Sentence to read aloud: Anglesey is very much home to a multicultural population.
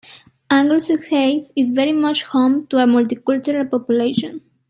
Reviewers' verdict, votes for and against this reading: accepted, 2, 0